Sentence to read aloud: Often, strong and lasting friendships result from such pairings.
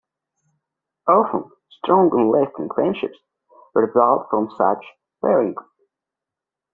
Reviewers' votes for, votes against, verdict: 0, 2, rejected